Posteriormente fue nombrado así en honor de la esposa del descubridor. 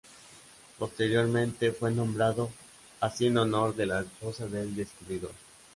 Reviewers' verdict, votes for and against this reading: accepted, 2, 0